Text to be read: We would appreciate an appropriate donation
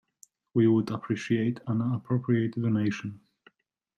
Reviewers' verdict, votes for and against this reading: accepted, 2, 0